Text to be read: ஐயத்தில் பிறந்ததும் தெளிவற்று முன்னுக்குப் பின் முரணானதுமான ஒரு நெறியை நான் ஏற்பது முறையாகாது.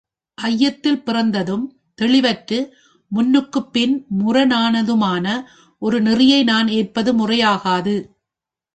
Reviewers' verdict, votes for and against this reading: accepted, 2, 0